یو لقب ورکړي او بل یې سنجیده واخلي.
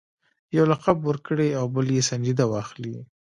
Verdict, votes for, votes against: rejected, 0, 2